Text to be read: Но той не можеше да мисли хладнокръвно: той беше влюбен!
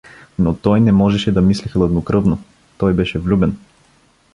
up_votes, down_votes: 2, 0